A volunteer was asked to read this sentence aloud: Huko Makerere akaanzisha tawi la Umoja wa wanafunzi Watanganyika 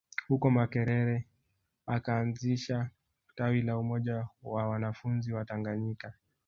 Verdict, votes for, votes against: accepted, 2, 0